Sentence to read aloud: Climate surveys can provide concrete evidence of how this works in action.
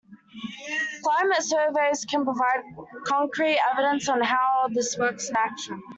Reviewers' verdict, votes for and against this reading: rejected, 0, 2